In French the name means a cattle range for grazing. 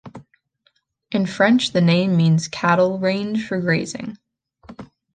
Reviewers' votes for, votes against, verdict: 2, 0, accepted